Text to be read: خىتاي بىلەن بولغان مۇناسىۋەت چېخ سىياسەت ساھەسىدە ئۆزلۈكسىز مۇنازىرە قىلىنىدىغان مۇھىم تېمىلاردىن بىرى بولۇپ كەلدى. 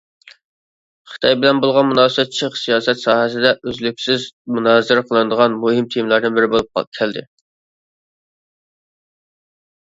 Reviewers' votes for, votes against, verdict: 0, 2, rejected